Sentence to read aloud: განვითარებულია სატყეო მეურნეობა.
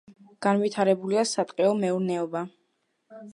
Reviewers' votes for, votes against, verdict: 2, 0, accepted